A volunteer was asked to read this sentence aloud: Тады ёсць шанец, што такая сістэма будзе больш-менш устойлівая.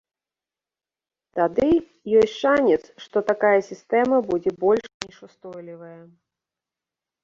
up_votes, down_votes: 0, 2